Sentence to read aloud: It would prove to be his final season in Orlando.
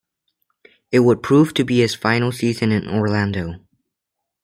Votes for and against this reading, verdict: 2, 1, accepted